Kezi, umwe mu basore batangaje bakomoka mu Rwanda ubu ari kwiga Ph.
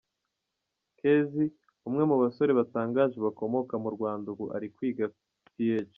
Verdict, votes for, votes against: rejected, 1, 2